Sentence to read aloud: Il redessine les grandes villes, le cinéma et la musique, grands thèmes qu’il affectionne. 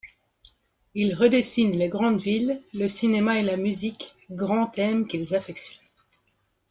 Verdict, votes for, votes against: rejected, 1, 2